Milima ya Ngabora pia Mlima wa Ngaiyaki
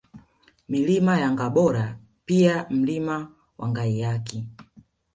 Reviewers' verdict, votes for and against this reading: accepted, 2, 1